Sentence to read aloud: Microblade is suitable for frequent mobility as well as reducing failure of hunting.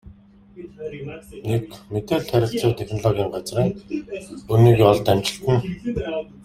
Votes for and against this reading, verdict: 0, 2, rejected